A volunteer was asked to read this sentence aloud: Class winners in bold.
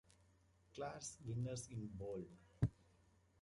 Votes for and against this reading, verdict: 2, 0, accepted